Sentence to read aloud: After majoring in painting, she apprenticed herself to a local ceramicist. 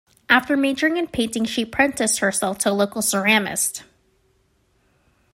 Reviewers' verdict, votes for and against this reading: rejected, 1, 2